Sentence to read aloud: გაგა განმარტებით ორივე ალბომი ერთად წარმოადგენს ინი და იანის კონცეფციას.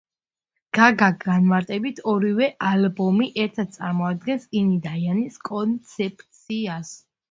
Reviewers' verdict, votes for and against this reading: accepted, 2, 0